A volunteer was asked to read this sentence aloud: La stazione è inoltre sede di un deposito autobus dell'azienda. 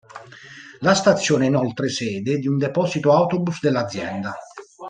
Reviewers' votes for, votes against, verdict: 2, 0, accepted